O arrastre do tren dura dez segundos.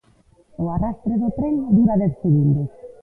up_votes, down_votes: 1, 2